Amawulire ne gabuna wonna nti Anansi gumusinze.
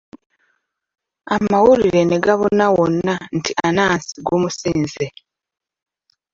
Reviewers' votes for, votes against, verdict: 2, 0, accepted